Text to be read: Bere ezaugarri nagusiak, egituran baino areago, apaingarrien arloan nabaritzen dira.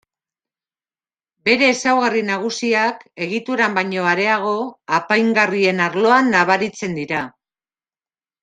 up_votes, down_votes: 2, 0